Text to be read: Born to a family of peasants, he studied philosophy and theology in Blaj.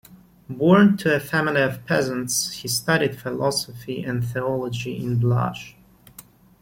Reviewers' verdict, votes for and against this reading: accepted, 2, 0